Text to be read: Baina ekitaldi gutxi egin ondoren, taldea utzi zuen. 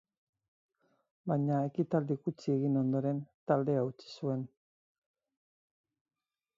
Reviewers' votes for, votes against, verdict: 4, 2, accepted